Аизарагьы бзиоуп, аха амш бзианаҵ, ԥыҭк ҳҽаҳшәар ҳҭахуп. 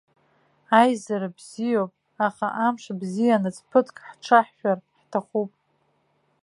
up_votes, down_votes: 1, 3